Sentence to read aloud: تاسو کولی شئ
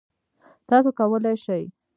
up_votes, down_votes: 0, 2